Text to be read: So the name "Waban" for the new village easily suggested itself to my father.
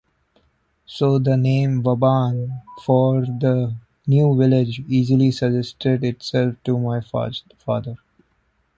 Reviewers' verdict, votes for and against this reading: rejected, 0, 2